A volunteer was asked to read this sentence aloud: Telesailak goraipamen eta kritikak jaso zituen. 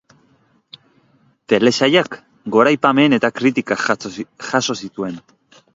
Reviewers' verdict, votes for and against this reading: rejected, 1, 2